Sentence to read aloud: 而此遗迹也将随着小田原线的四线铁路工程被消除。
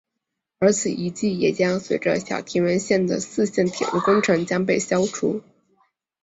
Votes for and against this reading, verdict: 3, 1, accepted